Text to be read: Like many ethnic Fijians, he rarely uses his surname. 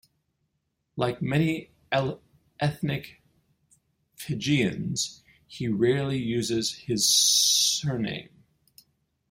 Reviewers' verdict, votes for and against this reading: rejected, 0, 5